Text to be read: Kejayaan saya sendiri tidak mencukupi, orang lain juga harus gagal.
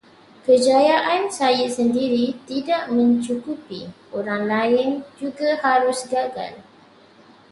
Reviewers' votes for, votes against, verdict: 2, 0, accepted